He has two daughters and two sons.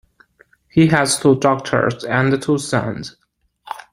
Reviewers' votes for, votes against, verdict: 2, 0, accepted